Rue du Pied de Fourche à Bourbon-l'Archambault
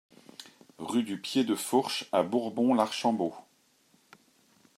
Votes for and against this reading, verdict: 2, 0, accepted